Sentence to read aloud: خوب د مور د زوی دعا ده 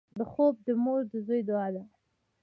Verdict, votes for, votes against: rejected, 1, 2